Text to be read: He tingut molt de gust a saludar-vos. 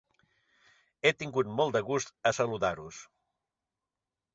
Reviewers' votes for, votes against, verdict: 1, 2, rejected